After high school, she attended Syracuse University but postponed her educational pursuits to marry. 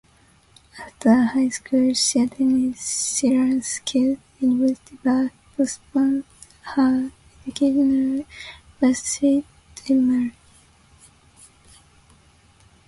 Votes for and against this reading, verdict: 0, 2, rejected